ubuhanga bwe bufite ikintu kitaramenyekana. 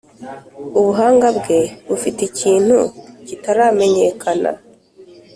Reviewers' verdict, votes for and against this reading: accepted, 3, 0